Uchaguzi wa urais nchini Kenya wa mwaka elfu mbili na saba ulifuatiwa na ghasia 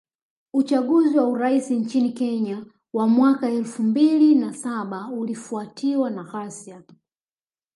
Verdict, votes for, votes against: rejected, 1, 2